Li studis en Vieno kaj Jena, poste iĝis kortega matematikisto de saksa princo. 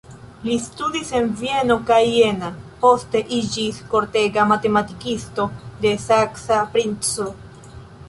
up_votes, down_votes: 2, 0